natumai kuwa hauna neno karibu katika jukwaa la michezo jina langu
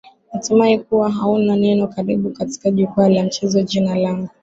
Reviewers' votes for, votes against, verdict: 12, 1, accepted